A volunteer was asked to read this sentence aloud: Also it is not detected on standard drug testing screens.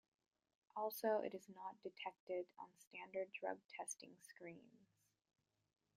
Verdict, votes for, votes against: accepted, 2, 0